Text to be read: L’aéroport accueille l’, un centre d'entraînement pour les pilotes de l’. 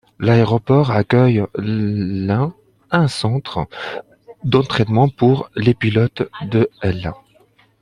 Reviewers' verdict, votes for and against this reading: rejected, 0, 2